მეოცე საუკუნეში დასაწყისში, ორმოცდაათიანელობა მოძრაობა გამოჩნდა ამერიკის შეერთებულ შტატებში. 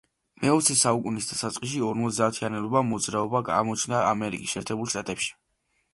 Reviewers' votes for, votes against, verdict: 1, 2, rejected